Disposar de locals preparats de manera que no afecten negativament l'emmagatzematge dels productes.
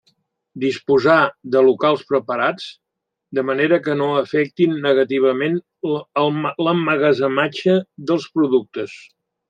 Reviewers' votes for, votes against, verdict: 1, 2, rejected